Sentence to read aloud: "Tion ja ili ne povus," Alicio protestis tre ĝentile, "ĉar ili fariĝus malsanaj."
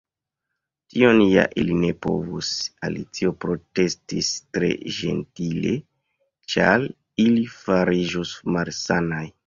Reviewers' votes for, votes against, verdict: 1, 2, rejected